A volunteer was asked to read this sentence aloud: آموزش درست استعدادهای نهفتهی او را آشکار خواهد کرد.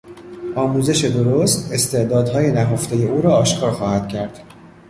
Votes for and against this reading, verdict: 2, 1, accepted